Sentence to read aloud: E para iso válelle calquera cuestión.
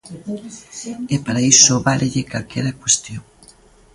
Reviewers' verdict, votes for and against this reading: rejected, 0, 2